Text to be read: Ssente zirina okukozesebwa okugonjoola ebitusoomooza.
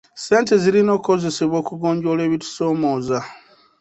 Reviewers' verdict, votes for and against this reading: accepted, 2, 0